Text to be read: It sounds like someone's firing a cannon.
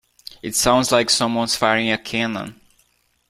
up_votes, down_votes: 2, 0